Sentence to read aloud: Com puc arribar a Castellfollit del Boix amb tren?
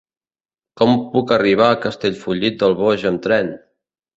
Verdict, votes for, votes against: accepted, 2, 0